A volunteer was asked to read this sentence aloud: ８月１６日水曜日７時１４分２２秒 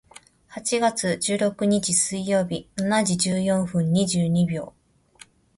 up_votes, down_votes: 0, 2